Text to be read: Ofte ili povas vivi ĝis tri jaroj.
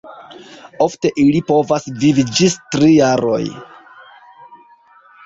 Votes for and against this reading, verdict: 2, 0, accepted